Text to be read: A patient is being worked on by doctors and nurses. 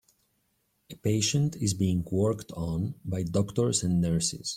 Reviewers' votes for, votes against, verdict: 2, 0, accepted